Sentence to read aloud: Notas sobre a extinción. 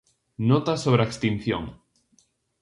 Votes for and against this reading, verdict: 2, 0, accepted